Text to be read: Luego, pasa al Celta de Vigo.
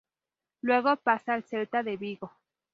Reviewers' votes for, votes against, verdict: 0, 2, rejected